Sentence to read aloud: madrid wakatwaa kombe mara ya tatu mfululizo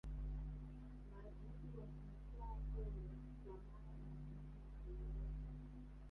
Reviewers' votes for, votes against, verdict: 0, 3, rejected